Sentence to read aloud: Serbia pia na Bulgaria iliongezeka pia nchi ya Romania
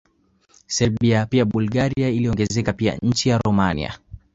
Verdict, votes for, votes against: rejected, 1, 2